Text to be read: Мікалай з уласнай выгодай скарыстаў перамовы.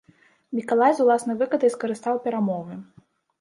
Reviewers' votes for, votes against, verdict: 1, 2, rejected